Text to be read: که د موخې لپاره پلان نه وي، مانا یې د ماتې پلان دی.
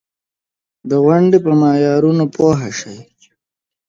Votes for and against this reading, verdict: 0, 2, rejected